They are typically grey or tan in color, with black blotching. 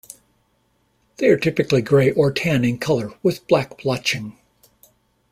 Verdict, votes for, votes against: accepted, 2, 0